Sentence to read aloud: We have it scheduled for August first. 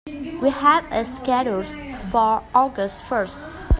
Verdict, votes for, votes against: rejected, 0, 2